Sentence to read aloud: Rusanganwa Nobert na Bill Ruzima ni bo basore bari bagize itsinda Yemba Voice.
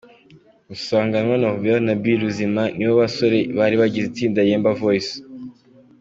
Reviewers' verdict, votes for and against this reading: accepted, 2, 1